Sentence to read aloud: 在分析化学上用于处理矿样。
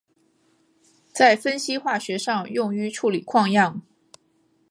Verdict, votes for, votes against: accepted, 5, 0